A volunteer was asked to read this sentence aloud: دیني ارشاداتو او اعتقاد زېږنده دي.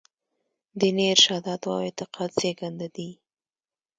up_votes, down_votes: 2, 0